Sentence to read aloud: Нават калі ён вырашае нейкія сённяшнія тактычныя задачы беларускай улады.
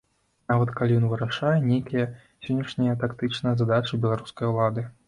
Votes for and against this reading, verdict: 2, 0, accepted